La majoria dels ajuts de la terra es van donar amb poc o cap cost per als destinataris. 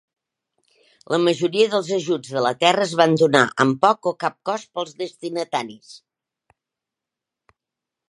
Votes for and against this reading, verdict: 1, 2, rejected